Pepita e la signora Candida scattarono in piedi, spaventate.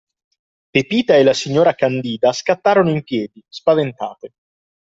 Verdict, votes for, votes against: accepted, 2, 1